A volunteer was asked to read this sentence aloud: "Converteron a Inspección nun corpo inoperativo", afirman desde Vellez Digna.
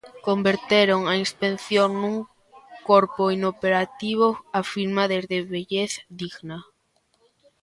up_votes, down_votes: 0, 2